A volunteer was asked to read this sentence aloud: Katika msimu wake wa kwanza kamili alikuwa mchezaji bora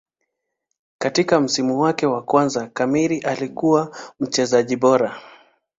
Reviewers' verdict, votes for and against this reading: accepted, 3, 2